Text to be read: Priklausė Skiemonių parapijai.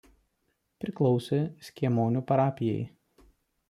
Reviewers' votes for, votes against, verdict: 2, 0, accepted